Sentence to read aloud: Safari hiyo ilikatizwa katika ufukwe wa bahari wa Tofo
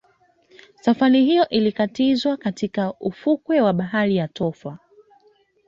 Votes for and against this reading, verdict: 1, 2, rejected